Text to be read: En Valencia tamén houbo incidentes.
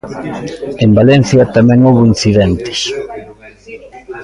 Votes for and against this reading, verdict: 3, 2, accepted